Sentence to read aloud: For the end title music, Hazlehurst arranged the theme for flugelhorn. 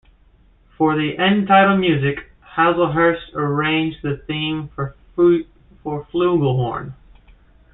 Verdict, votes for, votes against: accepted, 2, 1